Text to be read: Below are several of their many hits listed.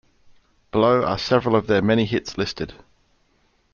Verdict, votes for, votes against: accepted, 2, 0